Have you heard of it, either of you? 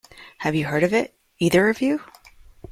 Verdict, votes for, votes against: accepted, 2, 0